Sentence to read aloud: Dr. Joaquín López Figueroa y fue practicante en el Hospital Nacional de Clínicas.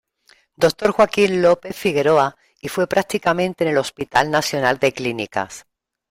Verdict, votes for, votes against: rejected, 1, 2